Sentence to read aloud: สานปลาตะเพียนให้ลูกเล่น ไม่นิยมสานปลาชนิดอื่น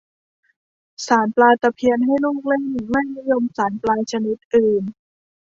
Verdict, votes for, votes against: accepted, 2, 0